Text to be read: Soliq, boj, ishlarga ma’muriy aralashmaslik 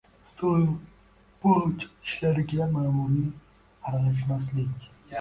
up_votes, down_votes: 0, 2